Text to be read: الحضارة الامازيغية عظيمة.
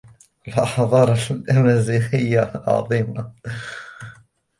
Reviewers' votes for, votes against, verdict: 2, 1, accepted